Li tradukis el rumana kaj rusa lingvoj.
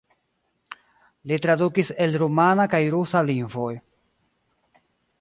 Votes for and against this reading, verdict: 2, 1, accepted